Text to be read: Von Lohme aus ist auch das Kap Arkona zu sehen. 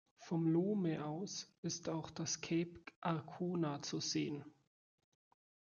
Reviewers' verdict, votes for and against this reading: rejected, 0, 2